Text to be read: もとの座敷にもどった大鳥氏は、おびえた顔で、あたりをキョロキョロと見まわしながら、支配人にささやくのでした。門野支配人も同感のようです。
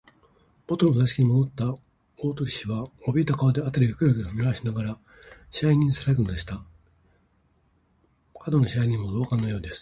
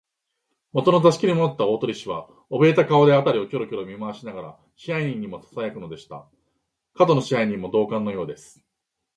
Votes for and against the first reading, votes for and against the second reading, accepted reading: 2, 0, 1, 2, first